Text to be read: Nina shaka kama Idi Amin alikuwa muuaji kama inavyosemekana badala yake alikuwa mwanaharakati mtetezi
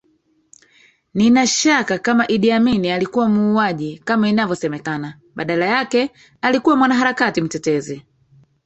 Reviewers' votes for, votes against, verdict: 1, 2, rejected